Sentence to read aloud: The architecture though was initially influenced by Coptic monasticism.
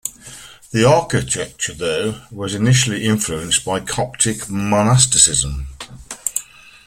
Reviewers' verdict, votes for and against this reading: accepted, 2, 0